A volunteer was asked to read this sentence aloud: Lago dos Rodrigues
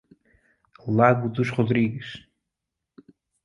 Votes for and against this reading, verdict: 2, 0, accepted